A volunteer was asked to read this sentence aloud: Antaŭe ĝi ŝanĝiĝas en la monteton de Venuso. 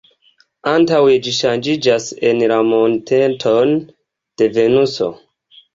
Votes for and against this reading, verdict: 2, 0, accepted